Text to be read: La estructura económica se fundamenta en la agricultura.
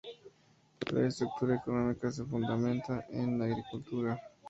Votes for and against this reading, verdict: 2, 0, accepted